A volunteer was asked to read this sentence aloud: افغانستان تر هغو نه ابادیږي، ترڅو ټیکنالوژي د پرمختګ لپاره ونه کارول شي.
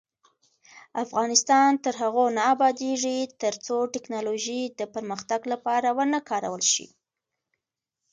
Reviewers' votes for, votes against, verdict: 2, 0, accepted